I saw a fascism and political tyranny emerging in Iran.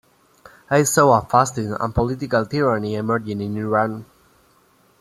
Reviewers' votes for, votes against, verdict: 0, 2, rejected